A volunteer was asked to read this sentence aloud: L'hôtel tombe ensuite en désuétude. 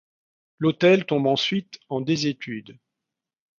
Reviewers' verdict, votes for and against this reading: rejected, 1, 2